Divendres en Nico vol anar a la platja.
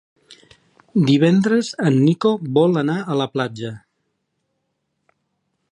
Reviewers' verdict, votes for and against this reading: accepted, 4, 0